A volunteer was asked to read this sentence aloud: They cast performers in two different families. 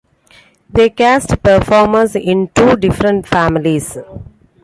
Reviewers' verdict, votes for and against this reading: accepted, 2, 0